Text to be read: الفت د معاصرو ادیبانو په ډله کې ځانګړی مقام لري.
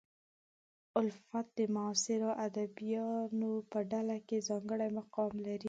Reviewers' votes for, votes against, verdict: 3, 0, accepted